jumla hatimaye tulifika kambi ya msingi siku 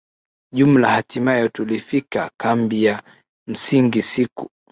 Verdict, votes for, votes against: accepted, 2, 0